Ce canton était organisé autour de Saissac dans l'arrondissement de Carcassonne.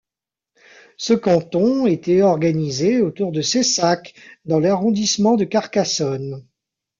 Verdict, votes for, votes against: rejected, 0, 2